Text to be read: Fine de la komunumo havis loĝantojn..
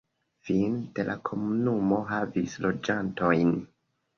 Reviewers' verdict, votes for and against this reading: rejected, 1, 3